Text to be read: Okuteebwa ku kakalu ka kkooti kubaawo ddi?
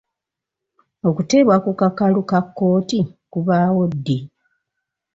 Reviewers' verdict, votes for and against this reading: accepted, 4, 0